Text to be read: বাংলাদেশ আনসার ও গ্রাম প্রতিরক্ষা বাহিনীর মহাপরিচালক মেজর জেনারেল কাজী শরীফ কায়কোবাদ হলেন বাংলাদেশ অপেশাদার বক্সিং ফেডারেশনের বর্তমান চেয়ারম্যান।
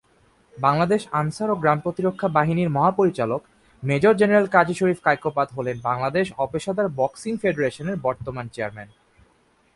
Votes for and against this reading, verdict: 3, 0, accepted